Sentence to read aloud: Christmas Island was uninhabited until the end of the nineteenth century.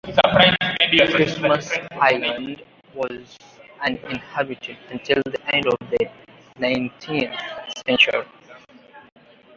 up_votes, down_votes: 1, 2